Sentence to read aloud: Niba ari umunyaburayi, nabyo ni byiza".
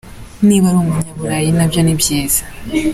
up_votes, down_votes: 2, 1